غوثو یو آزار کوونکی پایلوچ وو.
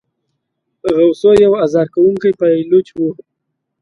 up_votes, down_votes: 2, 0